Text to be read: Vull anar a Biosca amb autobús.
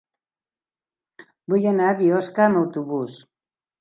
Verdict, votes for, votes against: accepted, 3, 0